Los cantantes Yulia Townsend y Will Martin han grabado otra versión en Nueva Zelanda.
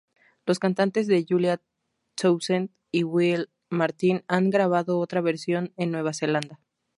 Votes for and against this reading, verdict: 2, 2, rejected